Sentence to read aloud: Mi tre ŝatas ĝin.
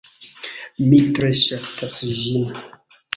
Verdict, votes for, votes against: rejected, 0, 2